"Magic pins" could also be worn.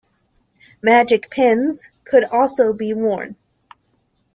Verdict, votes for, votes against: accepted, 2, 0